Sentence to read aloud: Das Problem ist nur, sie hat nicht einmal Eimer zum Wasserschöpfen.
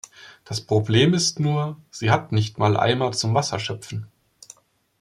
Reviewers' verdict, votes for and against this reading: rejected, 1, 2